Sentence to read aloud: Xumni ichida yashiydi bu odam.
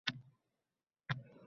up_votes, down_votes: 0, 2